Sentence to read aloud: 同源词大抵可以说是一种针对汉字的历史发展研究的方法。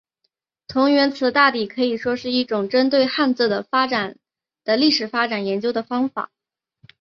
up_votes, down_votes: 1, 2